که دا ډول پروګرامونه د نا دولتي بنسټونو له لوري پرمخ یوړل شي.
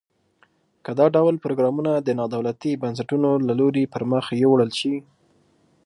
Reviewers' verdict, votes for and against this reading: accepted, 3, 0